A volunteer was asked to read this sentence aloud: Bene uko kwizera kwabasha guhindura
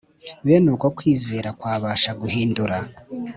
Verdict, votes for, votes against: accepted, 4, 0